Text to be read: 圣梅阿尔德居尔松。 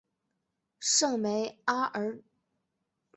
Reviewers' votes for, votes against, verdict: 0, 3, rejected